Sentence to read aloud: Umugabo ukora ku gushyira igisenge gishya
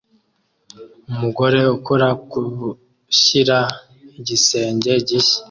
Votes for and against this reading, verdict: 2, 0, accepted